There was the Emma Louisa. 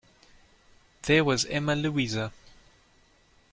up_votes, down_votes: 1, 2